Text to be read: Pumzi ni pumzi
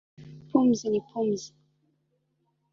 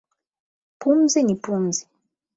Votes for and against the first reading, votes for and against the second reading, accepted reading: 0, 2, 8, 0, second